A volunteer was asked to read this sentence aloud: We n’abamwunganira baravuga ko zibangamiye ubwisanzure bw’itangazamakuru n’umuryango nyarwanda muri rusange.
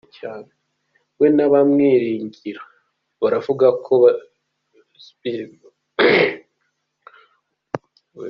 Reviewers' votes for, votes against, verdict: 0, 2, rejected